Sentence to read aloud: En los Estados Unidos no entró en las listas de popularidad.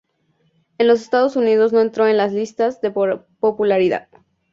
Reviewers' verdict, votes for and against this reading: rejected, 0, 2